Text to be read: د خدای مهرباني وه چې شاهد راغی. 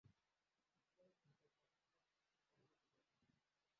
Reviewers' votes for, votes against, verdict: 0, 2, rejected